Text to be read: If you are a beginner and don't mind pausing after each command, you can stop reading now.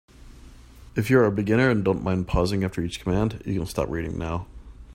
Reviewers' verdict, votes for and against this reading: accepted, 3, 0